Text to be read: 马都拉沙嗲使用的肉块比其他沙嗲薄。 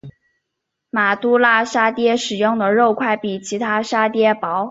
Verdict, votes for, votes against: accepted, 2, 1